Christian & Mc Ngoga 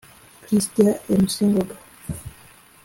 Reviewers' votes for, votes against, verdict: 2, 0, accepted